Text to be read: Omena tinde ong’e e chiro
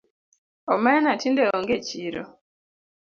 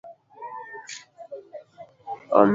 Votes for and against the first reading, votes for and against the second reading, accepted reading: 2, 0, 0, 2, first